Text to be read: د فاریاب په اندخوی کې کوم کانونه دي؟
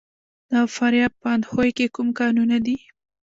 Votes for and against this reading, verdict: 0, 2, rejected